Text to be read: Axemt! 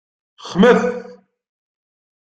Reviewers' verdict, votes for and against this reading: rejected, 0, 2